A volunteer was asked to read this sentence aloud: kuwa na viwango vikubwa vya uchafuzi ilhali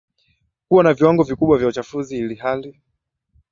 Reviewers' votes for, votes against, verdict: 2, 1, accepted